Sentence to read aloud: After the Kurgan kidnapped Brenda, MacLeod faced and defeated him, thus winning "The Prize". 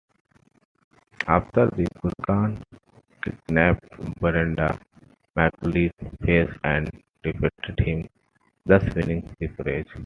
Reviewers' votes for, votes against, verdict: 2, 1, accepted